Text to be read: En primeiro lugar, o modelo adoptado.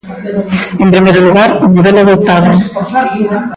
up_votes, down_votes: 0, 2